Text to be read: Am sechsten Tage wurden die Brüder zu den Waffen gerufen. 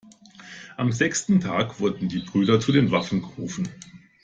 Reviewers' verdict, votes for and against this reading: rejected, 1, 2